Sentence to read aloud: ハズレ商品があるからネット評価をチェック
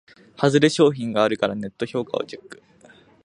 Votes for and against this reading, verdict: 2, 1, accepted